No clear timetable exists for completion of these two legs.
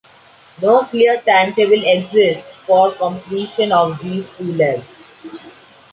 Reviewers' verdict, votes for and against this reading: accepted, 2, 0